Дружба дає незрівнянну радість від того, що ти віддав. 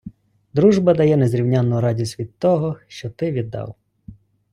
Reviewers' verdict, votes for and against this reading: accepted, 2, 0